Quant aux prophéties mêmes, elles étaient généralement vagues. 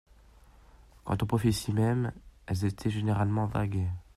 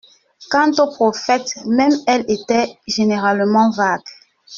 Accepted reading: first